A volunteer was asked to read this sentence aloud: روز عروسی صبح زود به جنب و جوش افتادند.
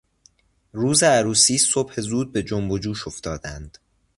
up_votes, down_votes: 2, 0